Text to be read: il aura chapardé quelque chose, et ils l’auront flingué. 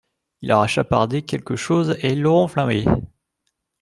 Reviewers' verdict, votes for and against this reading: rejected, 0, 2